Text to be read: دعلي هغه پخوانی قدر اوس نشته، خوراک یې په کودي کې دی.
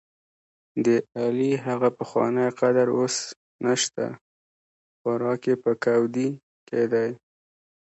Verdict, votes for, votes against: accepted, 3, 0